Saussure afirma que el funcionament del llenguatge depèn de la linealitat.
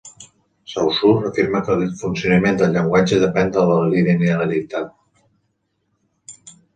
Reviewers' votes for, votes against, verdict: 1, 2, rejected